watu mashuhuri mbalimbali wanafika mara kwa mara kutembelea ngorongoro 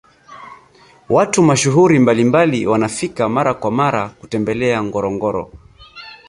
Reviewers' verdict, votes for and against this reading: accepted, 2, 0